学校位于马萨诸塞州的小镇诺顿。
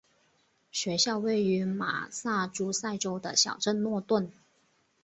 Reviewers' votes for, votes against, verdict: 2, 0, accepted